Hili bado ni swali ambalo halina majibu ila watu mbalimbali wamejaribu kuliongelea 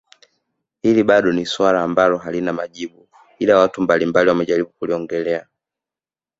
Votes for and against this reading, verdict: 2, 0, accepted